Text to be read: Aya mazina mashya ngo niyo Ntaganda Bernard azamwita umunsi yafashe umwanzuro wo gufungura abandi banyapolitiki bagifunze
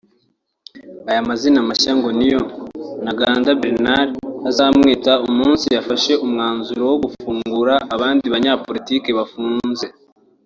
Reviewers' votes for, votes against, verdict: 0, 2, rejected